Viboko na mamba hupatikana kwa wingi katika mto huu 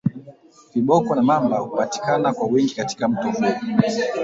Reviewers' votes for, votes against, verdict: 1, 2, rejected